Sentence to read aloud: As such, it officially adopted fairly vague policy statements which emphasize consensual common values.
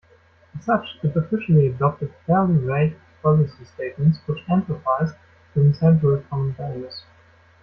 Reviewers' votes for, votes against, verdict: 0, 2, rejected